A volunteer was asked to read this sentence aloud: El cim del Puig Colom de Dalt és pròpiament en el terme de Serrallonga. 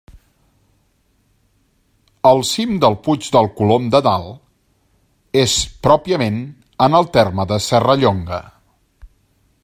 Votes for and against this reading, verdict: 0, 2, rejected